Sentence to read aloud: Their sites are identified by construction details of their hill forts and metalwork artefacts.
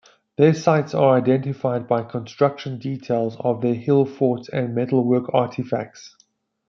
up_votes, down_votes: 2, 0